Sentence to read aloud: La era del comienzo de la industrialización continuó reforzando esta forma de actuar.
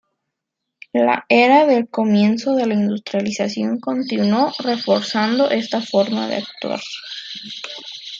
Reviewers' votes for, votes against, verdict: 2, 0, accepted